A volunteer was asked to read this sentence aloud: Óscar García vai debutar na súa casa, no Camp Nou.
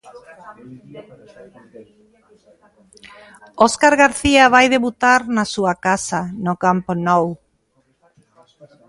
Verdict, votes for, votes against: rejected, 1, 2